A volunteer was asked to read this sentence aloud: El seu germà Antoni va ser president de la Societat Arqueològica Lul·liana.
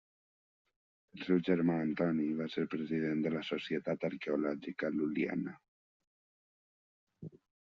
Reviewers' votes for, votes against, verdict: 1, 2, rejected